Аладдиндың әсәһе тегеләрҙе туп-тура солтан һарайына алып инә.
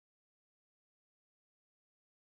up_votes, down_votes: 0, 2